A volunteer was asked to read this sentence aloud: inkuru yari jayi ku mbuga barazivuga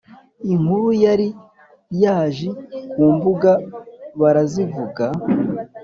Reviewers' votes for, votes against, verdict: 1, 2, rejected